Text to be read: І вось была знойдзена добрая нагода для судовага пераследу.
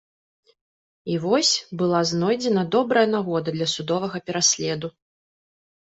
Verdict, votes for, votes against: accepted, 2, 0